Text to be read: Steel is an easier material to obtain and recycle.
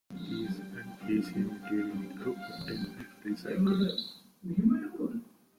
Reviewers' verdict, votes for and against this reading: rejected, 0, 2